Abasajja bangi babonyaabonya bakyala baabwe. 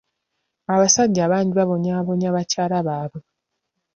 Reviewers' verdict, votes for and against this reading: accepted, 2, 0